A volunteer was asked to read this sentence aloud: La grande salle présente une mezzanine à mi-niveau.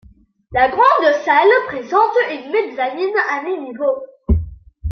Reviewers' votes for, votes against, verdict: 1, 2, rejected